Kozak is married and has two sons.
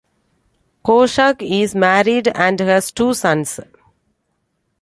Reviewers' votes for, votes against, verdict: 2, 0, accepted